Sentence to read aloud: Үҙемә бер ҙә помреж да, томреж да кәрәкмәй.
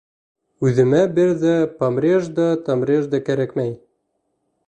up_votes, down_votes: 2, 0